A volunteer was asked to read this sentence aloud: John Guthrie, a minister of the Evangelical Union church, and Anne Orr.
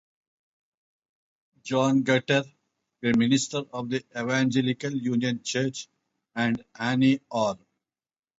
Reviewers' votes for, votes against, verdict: 4, 0, accepted